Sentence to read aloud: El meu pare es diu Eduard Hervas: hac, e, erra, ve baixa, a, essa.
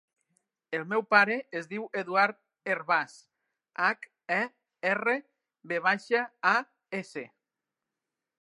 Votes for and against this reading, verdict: 2, 0, accepted